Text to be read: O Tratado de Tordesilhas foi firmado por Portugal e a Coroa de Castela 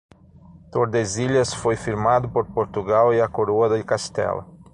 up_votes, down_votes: 0, 6